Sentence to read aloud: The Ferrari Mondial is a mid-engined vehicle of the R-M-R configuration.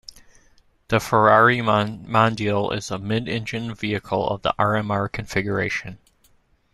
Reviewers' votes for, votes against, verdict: 0, 2, rejected